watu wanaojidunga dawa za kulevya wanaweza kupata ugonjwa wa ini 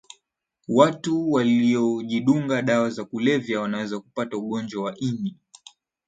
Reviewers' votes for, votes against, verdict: 0, 2, rejected